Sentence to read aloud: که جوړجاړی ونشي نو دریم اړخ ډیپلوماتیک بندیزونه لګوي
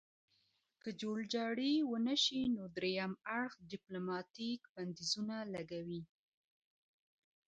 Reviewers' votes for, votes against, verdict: 0, 2, rejected